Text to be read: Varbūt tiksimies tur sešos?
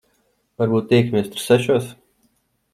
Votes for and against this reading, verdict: 1, 2, rejected